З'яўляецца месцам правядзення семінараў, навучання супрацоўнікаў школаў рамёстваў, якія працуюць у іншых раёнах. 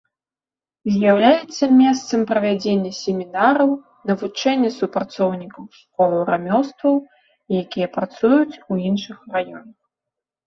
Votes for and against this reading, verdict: 0, 2, rejected